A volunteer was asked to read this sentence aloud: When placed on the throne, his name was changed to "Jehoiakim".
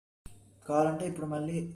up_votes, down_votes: 0, 2